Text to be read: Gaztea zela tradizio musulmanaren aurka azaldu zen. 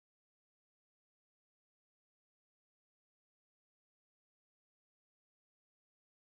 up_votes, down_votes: 0, 2